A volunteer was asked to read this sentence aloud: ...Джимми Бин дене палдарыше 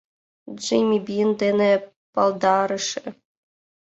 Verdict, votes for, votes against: accepted, 2, 0